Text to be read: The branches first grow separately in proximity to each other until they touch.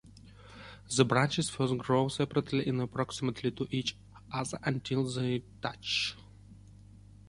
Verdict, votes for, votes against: rejected, 1, 2